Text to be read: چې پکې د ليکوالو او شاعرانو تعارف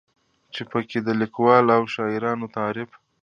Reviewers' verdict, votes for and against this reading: accepted, 2, 0